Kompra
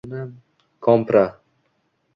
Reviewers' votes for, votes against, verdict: 2, 1, accepted